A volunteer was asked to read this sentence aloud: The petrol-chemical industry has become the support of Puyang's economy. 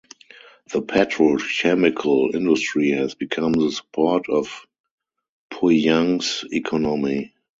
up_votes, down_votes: 2, 2